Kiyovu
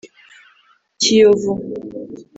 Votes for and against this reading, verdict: 3, 0, accepted